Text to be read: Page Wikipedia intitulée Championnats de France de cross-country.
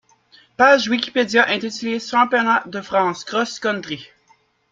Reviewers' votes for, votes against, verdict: 1, 2, rejected